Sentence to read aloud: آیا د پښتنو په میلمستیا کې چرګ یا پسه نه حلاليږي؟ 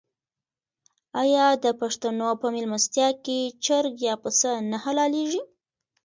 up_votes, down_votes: 1, 2